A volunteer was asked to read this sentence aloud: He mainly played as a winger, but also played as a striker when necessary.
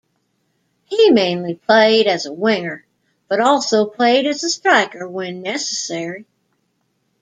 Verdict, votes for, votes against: accepted, 2, 0